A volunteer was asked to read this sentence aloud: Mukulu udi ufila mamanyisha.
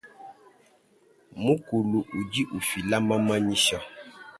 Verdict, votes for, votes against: rejected, 1, 2